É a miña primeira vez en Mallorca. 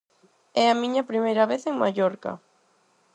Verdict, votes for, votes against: accepted, 4, 0